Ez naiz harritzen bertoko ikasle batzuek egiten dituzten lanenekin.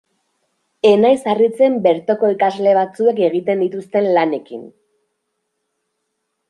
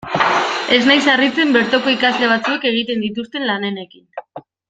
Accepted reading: second